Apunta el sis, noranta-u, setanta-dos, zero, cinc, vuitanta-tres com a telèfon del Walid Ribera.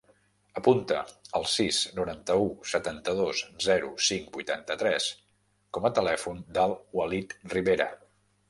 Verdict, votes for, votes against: accepted, 3, 0